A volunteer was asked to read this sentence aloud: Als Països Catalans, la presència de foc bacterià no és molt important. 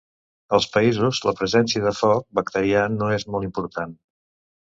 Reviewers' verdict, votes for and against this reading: rejected, 0, 2